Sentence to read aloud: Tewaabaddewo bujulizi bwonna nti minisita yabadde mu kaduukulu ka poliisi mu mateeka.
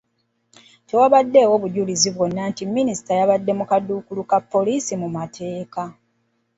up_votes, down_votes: 2, 1